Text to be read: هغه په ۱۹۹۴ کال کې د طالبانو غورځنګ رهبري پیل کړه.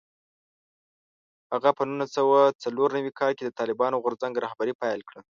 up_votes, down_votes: 0, 2